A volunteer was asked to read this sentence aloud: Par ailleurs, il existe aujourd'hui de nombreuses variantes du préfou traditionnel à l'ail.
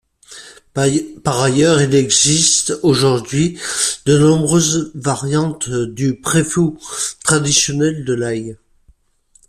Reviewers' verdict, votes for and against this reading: rejected, 1, 2